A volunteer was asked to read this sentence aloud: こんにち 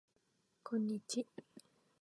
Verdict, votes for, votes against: accepted, 2, 0